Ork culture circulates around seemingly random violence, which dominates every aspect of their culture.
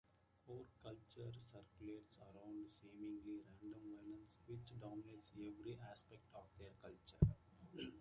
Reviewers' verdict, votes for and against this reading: accepted, 2, 1